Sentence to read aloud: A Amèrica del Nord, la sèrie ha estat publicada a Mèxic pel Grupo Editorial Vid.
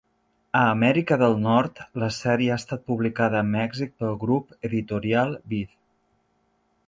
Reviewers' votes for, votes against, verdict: 0, 2, rejected